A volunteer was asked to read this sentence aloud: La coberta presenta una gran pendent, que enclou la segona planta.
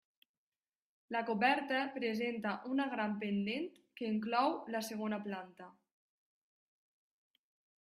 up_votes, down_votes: 2, 1